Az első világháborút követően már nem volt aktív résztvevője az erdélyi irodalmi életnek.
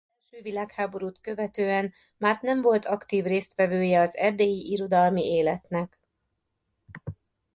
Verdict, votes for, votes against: rejected, 0, 2